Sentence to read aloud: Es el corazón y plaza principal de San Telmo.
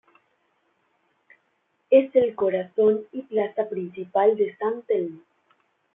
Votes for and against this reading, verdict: 1, 2, rejected